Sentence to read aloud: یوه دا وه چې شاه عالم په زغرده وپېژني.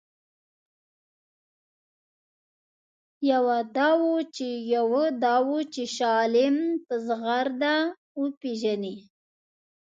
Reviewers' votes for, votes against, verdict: 1, 2, rejected